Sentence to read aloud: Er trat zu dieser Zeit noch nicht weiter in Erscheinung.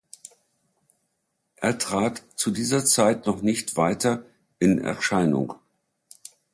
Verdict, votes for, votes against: accepted, 2, 0